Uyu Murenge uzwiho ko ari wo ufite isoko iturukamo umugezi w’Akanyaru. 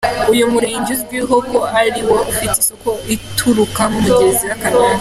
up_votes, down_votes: 2, 0